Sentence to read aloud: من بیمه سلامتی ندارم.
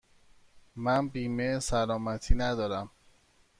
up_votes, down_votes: 2, 0